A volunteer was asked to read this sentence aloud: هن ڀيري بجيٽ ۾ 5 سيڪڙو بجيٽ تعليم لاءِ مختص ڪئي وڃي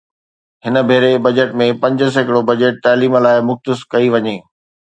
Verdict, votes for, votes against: rejected, 0, 2